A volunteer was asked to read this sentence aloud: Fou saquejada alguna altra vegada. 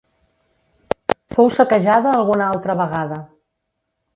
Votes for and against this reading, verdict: 1, 2, rejected